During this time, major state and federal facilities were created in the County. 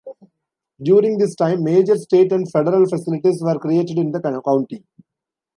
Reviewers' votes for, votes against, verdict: 0, 2, rejected